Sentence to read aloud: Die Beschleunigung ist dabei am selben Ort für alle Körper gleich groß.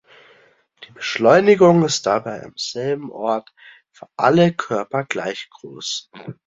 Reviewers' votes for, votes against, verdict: 2, 0, accepted